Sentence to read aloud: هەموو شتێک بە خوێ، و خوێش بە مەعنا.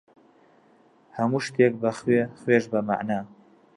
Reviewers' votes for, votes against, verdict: 1, 2, rejected